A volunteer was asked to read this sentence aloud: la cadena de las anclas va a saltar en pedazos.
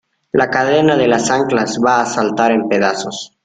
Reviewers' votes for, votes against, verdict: 2, 0, accepted